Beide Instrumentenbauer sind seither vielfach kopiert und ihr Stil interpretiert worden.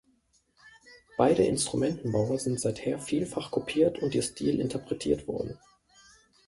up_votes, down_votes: 1, 2